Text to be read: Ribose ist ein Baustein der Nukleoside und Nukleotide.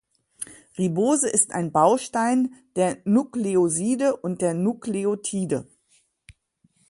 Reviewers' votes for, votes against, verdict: 1, 2, rejected